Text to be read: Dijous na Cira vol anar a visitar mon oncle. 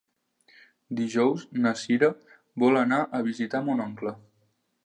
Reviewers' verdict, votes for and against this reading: accepted, 3, 0